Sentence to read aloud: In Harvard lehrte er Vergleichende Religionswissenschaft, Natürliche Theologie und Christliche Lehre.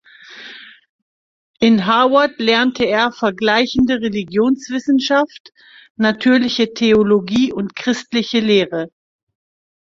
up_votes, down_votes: 1, 3